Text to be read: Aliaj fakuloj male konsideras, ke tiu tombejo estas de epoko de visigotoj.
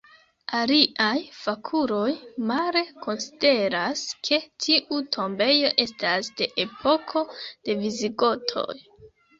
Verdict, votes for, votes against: rejected, 2, 3